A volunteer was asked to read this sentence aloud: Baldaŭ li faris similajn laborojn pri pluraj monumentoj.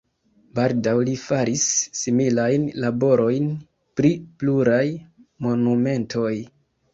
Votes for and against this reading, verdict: 0, 2, rejected